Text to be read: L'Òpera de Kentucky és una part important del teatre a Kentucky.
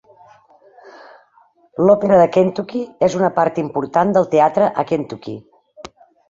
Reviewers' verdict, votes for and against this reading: rejected, 0, 2